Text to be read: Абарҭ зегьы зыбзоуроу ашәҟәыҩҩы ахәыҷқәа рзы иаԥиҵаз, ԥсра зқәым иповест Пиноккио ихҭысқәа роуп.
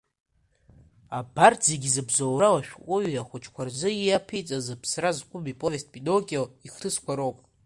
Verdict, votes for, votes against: accepted, 2, 1